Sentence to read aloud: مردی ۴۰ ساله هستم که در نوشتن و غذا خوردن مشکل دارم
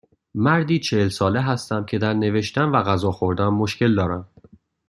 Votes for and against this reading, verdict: 0, 2, rejected